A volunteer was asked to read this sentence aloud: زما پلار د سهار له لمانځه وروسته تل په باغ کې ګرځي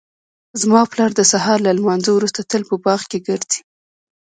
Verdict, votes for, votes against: accepted, 2, 0